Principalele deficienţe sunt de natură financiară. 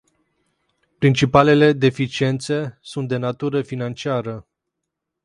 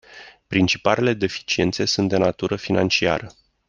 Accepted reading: second